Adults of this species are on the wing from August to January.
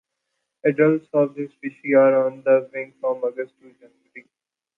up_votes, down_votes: 0, 2